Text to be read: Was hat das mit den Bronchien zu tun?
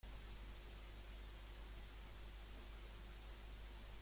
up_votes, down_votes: 0, 2